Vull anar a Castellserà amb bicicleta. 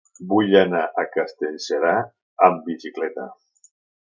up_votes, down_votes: 4, 0